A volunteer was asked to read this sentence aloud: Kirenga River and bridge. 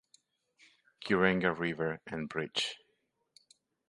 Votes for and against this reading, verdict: 2, 0, accepted